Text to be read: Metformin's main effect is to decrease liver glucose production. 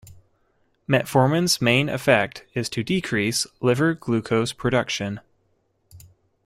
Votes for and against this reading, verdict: 2, 0, accepted